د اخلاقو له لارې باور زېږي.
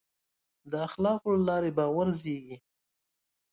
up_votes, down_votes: 2, 0